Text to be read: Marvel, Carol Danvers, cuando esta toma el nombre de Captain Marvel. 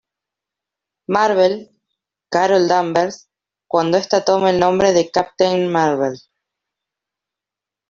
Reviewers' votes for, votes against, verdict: 2, 0, accepted